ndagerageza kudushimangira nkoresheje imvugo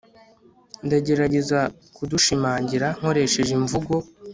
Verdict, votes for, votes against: rejected, 1, 2